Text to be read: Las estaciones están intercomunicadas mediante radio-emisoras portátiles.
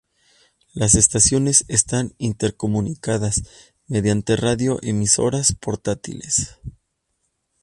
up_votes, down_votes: 2, 0